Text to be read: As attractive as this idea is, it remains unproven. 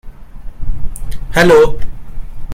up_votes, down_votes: 0, 2